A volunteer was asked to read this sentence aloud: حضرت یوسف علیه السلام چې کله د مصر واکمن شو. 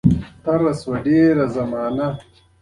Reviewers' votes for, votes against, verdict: 0, 2, rejected